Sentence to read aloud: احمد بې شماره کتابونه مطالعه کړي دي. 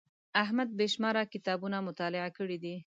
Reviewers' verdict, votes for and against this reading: accepted, 2, 0